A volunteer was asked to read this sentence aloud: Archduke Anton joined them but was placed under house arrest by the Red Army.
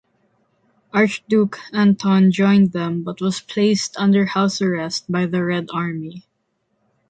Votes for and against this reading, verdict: 2, 0, accepted